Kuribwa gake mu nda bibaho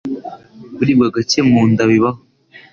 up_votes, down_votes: 2, 0